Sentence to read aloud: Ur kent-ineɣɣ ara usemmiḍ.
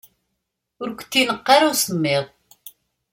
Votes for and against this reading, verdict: 1, 2, rejected